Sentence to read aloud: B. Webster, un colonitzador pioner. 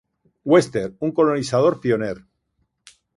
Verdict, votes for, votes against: rejected, 1, 2